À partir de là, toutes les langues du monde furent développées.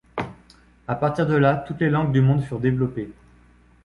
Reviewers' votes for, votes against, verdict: 3, 0, accepted